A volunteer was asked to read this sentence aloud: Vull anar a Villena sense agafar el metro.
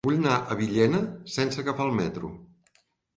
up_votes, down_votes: 1, 2